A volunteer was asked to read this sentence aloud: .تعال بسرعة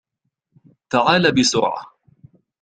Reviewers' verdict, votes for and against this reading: accepted, 2, 1